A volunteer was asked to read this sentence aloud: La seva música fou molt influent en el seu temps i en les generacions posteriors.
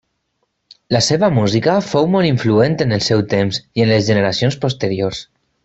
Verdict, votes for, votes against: accepted, 6, 0